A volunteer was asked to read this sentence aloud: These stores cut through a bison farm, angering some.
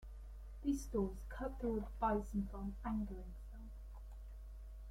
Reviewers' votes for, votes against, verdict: 1, 2, rejected